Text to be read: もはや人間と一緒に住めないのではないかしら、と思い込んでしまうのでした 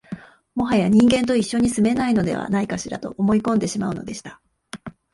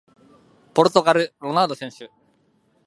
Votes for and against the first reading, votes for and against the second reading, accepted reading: 2, 0, 0, 2, first